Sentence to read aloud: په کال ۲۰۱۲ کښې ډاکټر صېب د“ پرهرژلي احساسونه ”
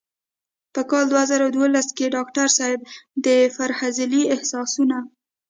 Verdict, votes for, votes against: rejected, 0, 2